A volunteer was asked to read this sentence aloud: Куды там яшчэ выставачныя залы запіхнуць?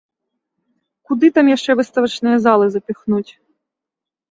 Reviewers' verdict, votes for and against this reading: accepted, 2, 0